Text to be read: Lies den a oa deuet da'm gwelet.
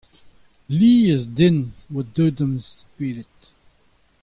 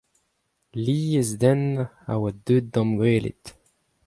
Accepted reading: second